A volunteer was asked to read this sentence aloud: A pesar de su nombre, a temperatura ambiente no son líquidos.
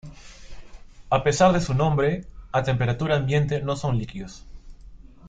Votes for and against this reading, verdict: 2, 0, accepted